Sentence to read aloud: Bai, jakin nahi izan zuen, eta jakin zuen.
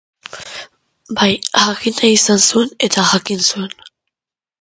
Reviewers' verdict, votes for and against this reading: rejected, 0, 2